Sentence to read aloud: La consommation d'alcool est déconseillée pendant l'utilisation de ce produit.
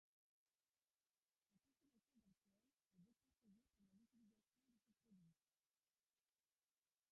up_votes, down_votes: 1, 2